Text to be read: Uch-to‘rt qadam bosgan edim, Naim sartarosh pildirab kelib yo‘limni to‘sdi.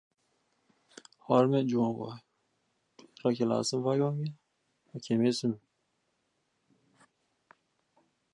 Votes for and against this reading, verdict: 0, 2, rejected